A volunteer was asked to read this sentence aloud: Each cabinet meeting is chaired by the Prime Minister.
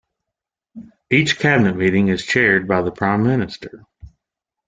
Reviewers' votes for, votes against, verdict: 2, 0, accepted